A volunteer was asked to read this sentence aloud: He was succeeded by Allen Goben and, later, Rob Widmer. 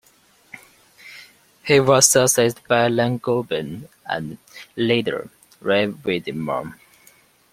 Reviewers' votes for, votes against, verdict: 2, 0, accepted